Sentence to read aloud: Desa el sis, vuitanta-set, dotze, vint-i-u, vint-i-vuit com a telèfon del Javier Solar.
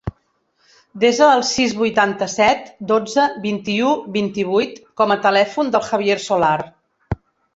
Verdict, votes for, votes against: rejected, 1, 2